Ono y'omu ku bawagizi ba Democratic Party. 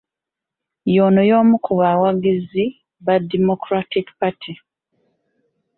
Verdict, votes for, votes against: rejected, 0, 2